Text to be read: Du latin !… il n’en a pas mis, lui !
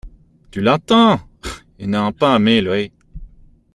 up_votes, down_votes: 0, 2